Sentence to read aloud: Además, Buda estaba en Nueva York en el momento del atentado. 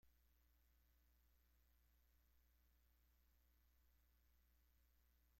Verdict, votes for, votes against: rejected, 0, 2